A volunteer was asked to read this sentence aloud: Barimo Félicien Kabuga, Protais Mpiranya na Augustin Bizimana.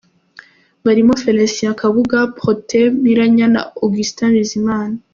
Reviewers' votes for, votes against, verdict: 2, 0, accepted